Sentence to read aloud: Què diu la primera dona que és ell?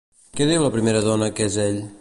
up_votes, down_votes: 3, 0